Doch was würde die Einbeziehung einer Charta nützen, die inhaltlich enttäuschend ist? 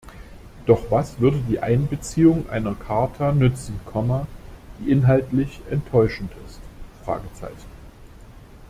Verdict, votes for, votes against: rejected, 0, 2